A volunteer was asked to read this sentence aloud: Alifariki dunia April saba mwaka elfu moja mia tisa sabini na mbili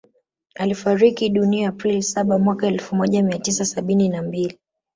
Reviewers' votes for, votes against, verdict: 3, 1, accepted